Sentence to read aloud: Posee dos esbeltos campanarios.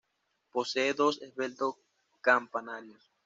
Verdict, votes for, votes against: accepted, 2, 1